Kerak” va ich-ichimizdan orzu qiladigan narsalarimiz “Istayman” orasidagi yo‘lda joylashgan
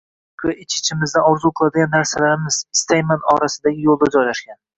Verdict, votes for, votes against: rejected, 0, 2